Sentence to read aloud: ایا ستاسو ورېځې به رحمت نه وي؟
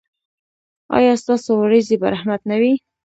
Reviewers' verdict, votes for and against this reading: rejected, 1, 2